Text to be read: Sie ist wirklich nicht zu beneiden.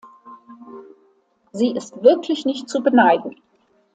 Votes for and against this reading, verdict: 2, 0, accepted